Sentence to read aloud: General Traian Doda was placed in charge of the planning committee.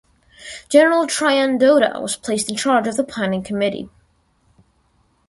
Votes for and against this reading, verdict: 2, 0, accepted